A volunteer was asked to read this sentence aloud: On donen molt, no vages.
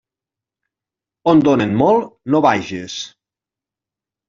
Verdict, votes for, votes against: accepted, 4, 0